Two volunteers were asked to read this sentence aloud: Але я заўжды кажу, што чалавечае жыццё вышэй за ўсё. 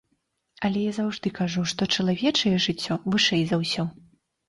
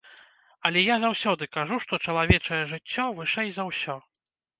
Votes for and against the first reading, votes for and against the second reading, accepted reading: 2, 0, 1, 2, first